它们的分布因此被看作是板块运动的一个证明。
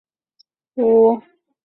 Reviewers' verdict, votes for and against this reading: rejected, 0, 5